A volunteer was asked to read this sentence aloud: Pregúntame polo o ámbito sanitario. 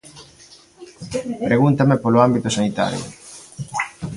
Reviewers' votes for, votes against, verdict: 1, 2, rejected